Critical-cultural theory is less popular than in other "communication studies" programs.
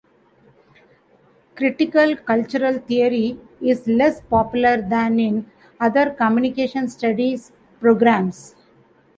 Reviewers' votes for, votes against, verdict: 2, 0, accepted